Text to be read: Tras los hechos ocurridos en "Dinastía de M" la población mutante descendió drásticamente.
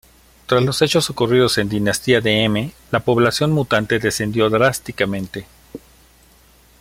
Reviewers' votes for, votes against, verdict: 2, 0, accepted